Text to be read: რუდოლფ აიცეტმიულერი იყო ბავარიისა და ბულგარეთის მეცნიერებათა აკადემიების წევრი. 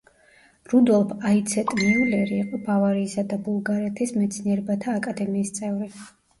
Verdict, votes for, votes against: rejected, 0, 2